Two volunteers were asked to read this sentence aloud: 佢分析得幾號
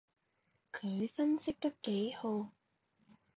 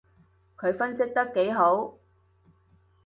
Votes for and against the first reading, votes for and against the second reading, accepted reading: 2, 0, 0, 2, first